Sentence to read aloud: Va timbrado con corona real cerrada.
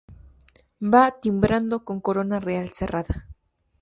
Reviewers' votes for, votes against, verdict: 0, 2, rejected